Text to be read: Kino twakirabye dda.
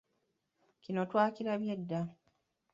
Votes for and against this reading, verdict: 2, 0, accepted